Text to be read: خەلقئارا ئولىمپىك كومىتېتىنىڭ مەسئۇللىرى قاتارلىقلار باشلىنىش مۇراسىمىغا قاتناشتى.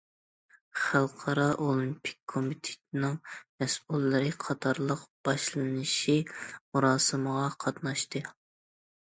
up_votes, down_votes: 1, 2